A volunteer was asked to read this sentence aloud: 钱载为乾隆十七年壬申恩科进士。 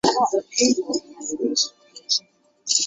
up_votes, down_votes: 1, 2